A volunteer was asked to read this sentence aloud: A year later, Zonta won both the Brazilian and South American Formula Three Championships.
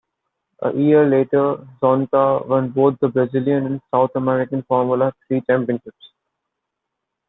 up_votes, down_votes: 0, 2